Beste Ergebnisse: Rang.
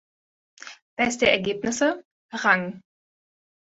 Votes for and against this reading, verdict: 2, 0, accepted